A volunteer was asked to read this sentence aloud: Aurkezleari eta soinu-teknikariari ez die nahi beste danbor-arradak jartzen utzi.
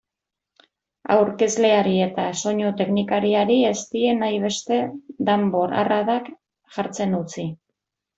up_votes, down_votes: 2, 0